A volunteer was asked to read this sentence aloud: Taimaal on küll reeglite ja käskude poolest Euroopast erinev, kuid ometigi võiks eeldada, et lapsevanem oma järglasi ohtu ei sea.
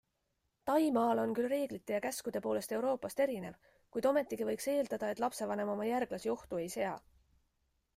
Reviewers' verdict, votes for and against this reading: accepted, 2, 0